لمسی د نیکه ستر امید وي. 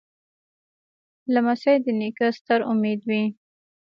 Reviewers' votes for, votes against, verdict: 2, 0, accepted